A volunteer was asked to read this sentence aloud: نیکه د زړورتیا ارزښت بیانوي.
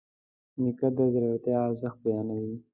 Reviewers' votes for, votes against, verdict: 2, 0, accepted